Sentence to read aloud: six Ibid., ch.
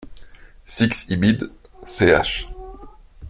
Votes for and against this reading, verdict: 1, 2, rejected